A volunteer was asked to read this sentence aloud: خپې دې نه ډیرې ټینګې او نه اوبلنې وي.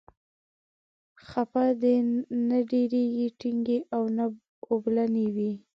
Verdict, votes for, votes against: rejected, 0, 4